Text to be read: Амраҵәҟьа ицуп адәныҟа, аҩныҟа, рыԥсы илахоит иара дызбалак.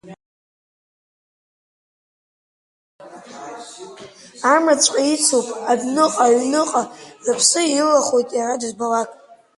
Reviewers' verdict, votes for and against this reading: accepted, 2, 1